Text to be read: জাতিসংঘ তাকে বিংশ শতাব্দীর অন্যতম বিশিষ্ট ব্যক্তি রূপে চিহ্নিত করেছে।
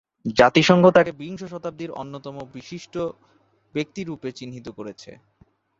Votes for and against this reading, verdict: 2, 0, accepted